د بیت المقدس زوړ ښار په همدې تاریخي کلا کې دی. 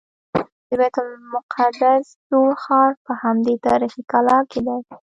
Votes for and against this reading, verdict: 2, 0, accepted